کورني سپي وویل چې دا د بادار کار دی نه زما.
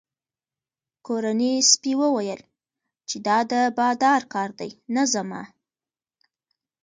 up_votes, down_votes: 2, 1